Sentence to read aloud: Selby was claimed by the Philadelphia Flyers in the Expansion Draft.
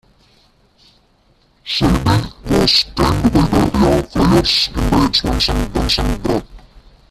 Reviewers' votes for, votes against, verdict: 1, 2, rejected